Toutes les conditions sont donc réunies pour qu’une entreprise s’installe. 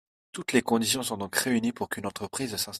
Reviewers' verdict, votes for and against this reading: rejected, 0, 2